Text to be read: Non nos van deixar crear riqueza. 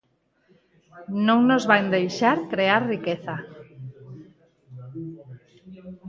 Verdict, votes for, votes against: rejected, 2, 4